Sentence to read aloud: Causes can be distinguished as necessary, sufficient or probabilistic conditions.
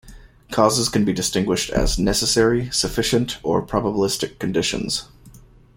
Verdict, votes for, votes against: accepted, 2, 0